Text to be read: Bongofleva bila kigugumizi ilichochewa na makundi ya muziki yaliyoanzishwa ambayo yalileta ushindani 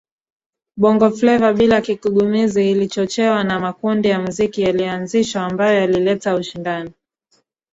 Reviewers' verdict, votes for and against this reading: accepted, 2, 1